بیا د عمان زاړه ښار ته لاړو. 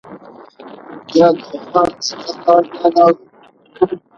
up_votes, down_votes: 0, 2